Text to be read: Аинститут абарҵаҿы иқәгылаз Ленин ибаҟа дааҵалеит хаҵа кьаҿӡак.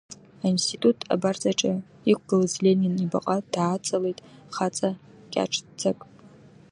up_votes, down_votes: 1, 2